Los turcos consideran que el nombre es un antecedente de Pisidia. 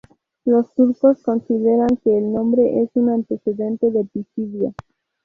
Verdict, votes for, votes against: accepted, 2, 0